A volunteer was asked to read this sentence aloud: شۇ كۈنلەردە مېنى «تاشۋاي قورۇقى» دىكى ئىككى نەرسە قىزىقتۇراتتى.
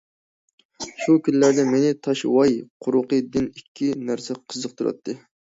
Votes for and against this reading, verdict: 0, 2, rejected